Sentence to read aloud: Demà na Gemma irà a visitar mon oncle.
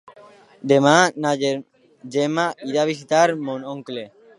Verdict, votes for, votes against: accepted, 2, 1